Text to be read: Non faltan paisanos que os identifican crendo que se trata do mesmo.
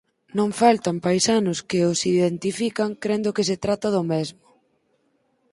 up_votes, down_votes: 4, 0